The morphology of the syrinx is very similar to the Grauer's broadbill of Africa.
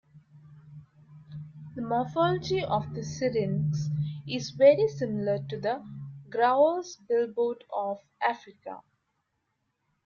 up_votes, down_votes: 0, 2